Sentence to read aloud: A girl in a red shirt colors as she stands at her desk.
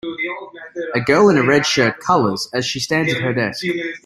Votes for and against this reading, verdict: 2, 0, accepted